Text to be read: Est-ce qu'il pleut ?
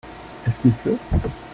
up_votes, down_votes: 0, 2